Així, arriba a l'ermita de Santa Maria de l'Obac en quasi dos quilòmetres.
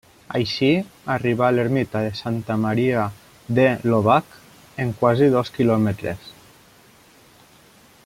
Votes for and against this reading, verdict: 2, 1, accepted